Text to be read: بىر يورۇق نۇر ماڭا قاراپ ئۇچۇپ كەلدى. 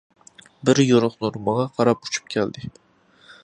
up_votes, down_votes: 2, 0